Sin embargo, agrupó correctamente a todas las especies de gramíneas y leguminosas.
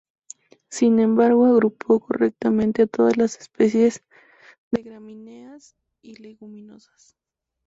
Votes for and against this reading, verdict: 0, 2, rejected